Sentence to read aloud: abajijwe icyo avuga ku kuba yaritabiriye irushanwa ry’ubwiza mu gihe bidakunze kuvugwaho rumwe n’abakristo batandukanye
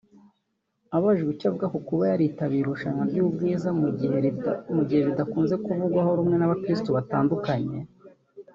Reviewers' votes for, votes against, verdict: 1, 2, rejected